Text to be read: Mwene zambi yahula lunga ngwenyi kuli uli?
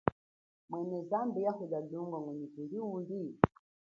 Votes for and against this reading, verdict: 3, 2, accepted